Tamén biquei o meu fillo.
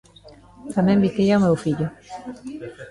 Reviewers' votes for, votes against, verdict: 1, 2, rejected